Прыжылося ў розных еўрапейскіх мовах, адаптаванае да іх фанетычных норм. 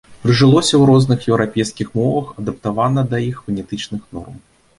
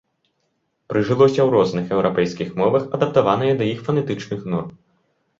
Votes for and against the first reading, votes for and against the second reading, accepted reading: 0, 2, 2, 0, second